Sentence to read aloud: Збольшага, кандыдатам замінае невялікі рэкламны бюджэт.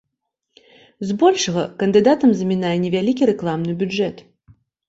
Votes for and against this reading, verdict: 3, 0, accepted